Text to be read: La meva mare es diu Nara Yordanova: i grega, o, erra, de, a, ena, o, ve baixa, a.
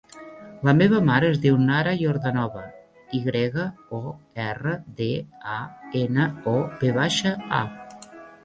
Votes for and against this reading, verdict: 3, 0, accepted